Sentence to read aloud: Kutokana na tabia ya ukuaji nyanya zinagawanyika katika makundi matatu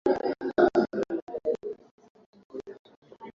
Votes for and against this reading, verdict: 0, 2, rejected